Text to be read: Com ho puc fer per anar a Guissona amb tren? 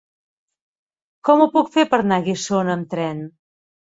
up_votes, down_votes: 0, 2